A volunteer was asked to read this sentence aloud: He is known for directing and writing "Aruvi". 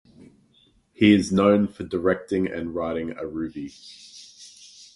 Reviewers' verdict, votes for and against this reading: accepted, 2, 0